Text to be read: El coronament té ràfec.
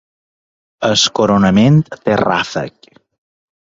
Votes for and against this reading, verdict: 2, 1, accepted